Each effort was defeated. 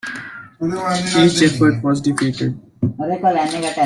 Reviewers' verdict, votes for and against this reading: rejected, 0, 2